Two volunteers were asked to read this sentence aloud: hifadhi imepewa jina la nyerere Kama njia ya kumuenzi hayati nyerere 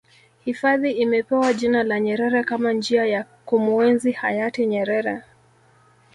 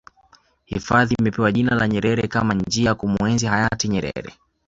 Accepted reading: second